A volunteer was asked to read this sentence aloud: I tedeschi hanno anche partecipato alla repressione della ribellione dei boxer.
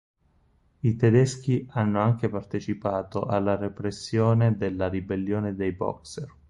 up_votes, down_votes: 4, 0